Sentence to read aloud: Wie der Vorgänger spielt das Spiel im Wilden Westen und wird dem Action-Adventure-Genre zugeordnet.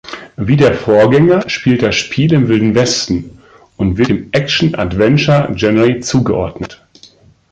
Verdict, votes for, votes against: rejected, 0, 2